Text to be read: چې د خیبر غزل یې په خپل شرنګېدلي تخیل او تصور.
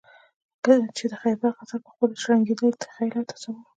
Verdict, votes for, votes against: rejected, 1, 2